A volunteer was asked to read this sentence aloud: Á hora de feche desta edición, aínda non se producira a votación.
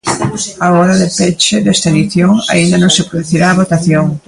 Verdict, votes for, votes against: rejected, 1, 2